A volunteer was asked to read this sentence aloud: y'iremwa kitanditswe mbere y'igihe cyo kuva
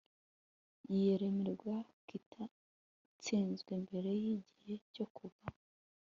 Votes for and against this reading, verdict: 1, 2, rejected